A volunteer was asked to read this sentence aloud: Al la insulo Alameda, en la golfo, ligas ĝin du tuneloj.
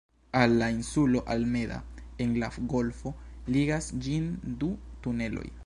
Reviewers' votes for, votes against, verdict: 0, 3, rejected